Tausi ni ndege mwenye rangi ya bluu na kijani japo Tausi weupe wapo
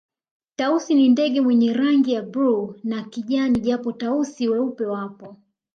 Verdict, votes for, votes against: accepted, 2, 1